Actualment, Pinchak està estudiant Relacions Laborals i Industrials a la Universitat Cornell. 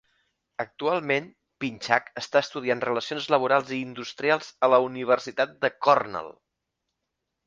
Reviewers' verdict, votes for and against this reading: rejected, 1, 2